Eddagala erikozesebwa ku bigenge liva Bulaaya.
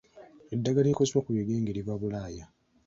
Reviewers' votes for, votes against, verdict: 2, 0, accepted